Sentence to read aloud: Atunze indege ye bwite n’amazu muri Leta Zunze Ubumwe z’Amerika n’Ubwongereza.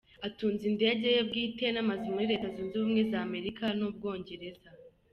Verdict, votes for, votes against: accepted, 2, 0